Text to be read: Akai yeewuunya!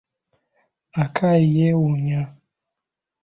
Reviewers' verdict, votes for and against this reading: accepted, 2, 0